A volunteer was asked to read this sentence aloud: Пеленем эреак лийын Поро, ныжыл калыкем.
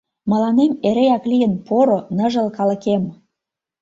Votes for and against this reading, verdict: 0, 2, rejected